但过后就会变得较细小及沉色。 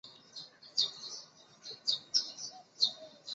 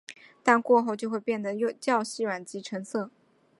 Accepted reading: second